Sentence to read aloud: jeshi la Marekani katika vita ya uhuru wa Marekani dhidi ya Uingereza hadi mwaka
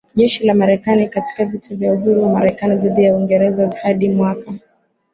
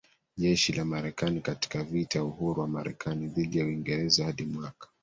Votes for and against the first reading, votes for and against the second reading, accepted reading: 3, 0, 1, 2, first